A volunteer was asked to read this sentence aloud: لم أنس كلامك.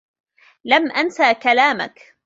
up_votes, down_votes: 3, 1